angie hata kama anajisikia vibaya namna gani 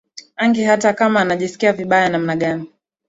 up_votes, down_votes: 6, 1